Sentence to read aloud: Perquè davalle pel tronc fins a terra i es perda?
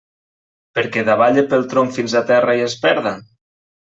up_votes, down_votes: 2, 1